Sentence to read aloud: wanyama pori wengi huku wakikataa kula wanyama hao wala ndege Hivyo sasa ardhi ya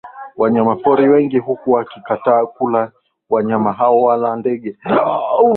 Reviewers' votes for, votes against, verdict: 5, 5, rejected